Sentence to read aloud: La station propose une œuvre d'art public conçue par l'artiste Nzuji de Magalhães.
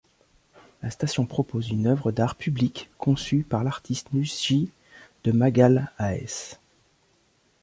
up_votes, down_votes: 0, 2